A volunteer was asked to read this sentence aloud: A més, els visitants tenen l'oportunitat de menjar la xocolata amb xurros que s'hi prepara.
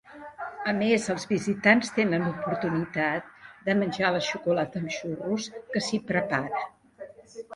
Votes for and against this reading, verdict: 1, 2, rejected